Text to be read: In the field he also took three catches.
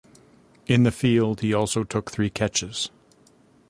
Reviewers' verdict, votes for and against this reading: accepted, 2, 0